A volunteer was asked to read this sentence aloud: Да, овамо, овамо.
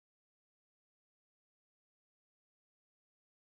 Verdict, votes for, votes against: rejected, 0, 2